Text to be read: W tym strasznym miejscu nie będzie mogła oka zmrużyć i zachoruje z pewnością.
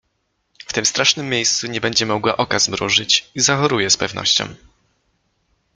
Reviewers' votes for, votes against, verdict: 2, 0, accepted